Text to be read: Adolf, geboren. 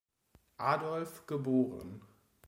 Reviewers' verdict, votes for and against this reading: accepted, 2, 0